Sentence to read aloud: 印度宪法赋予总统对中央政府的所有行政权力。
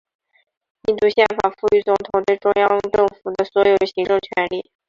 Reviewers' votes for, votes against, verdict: 1, 2, rejected